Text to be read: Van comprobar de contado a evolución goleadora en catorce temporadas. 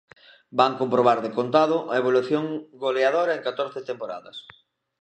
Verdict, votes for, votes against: accepted, 2, 0